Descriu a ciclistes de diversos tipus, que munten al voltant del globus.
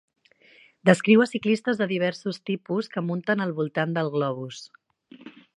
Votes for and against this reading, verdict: 3, 0, accepted